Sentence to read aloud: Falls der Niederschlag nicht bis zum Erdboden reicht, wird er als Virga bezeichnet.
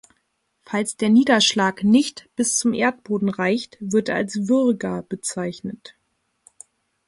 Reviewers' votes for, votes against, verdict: 0, 2, rejected